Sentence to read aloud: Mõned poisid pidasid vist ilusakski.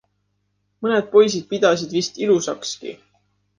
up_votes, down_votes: 2, 0